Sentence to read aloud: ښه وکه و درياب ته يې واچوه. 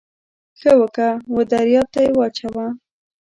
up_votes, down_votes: 1, 2